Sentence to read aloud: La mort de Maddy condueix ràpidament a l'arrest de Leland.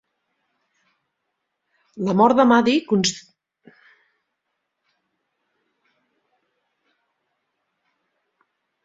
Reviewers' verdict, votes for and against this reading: rejected, 1, 2